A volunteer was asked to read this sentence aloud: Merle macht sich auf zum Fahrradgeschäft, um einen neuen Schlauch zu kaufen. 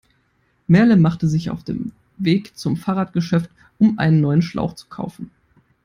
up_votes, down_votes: 0, 3